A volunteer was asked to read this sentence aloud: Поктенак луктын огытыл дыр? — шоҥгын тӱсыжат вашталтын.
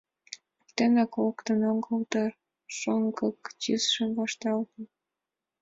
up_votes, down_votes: 2, 1